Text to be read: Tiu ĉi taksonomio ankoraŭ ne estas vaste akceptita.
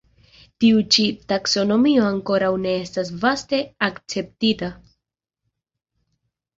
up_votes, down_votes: 2, 0